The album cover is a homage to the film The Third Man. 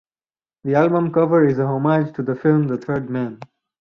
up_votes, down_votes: 0, 2